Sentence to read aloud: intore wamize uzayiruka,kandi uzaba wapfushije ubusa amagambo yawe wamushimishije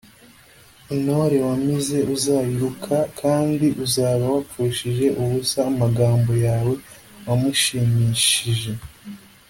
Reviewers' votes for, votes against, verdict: 3, 0, accepted